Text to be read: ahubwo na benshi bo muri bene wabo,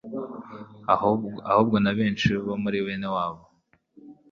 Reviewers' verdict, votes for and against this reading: rejected, 0, 2